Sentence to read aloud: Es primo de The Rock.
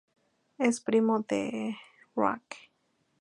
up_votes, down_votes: 2, 2